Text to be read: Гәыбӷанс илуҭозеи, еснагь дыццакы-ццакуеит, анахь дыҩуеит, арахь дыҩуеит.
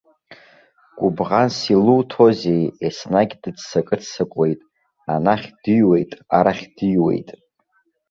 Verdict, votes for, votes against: accepted, 2, 0